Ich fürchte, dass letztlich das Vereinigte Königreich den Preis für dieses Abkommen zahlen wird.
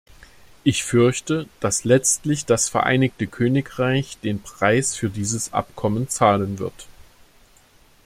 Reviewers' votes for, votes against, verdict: 2, 0, accepted